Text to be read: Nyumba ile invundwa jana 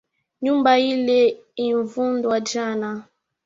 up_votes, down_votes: 3, 1